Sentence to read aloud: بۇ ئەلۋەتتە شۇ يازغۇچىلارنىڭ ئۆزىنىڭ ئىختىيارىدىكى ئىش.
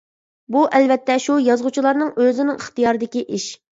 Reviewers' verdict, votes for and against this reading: accepted, 2, 0